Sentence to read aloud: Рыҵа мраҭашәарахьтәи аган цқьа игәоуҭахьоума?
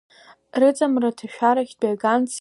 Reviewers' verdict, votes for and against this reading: rejected, 1, 2